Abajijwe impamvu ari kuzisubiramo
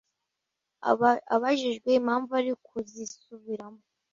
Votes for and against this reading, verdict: 0, 2, rejected